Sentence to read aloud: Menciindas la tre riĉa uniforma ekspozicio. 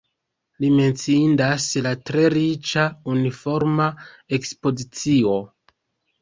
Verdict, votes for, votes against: rejected, 0, 2